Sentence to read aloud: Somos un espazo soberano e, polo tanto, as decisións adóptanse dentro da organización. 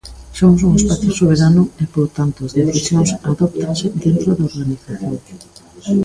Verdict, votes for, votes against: rejected, 0, 2